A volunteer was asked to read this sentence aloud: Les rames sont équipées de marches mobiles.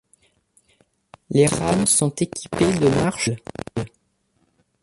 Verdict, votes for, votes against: rejected, 1, 2